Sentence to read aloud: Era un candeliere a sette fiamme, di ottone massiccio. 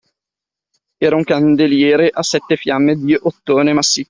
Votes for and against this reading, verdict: 0, 2, rejected